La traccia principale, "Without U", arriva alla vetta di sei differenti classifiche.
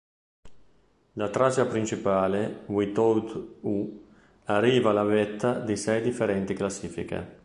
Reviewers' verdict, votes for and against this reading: rejected, 0, 2